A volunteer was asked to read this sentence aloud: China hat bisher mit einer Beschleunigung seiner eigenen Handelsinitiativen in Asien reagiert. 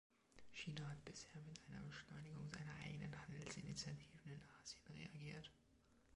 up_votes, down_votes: 1, 2